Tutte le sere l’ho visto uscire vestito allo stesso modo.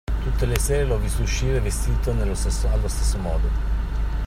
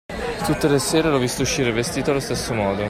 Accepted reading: second